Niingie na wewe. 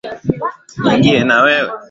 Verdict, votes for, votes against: accepted, 3, 0